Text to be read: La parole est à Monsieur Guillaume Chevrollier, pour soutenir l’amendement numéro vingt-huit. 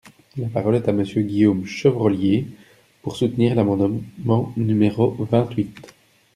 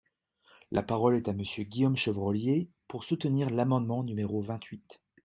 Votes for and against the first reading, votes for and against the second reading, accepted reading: 0, 2, 2, 0, second